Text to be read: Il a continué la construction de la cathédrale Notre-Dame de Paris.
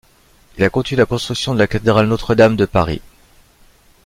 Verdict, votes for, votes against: rejected, 1, 2